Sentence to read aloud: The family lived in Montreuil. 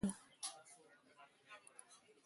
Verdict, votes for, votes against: rejected, 0, 2